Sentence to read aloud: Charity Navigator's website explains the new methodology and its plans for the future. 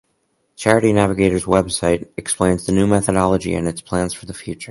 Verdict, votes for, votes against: accepted, 4, 0